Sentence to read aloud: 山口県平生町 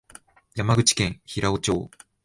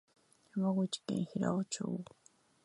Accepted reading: first